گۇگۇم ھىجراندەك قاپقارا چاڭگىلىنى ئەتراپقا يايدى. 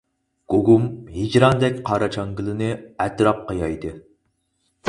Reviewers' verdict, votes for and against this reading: rejected, 0, 4